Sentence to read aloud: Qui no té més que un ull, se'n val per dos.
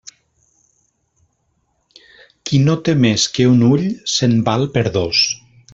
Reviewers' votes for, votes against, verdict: 4, 0, accepted